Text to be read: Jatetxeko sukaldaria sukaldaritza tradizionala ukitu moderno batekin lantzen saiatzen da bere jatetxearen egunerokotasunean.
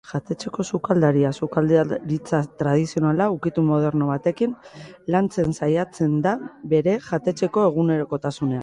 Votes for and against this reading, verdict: 0, 2, rejected